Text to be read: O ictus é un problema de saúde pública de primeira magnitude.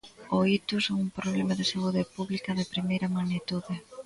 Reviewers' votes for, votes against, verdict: 2, 0, accepted